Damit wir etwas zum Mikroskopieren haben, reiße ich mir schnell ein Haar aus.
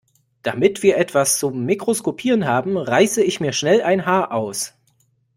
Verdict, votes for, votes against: accepted, 2, 0